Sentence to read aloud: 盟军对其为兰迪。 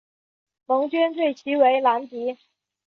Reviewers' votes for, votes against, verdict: 2, 0, accepted